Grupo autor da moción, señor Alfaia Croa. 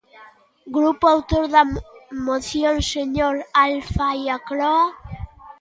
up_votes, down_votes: 1, 2